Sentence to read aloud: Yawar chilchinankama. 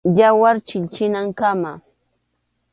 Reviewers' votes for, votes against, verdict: 2, 0, accepted